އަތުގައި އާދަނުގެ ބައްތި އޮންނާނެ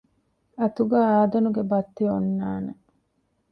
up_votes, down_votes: 0, 2